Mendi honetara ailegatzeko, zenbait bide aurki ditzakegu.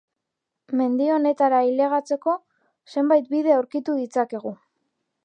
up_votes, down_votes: 0, 2